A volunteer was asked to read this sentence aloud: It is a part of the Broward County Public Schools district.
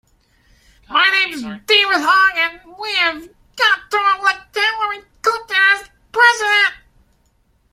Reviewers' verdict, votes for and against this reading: rejected, 0, 2